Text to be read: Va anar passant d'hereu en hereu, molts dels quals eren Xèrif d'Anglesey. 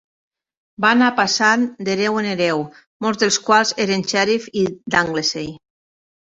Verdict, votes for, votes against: rejected, 2, 3